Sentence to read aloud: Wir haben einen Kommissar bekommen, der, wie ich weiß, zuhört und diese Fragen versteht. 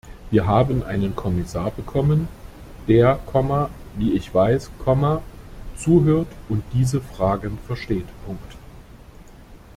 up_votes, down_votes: 0, 2